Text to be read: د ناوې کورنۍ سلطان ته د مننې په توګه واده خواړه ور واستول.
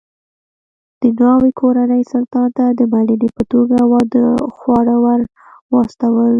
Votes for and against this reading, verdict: 1, 2, rejected